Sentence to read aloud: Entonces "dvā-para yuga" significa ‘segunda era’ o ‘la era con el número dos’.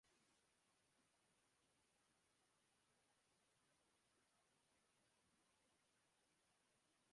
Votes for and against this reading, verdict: 0, 2, rejected